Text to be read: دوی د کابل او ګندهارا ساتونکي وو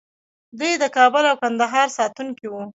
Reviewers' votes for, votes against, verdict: 0, 2, rejected